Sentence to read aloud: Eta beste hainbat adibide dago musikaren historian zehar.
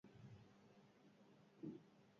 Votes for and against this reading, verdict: 0, 4, rejected